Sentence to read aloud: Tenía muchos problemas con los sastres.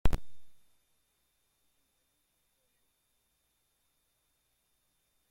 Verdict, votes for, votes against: rejected, 0, 2